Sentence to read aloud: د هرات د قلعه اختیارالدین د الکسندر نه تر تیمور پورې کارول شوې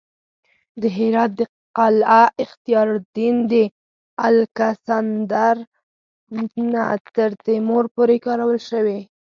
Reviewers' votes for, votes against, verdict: 4, 0, accepted